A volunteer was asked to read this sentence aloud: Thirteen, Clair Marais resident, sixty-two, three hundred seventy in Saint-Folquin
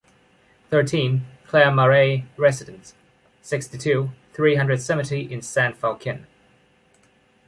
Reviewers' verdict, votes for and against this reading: accepted, 2, 1